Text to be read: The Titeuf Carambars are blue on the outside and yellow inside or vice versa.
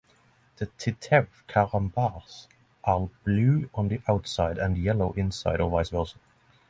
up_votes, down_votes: 6, 0